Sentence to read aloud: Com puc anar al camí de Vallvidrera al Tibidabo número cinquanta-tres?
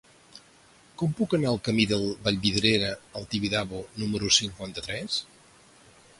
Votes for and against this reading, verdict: 4, 2, accepted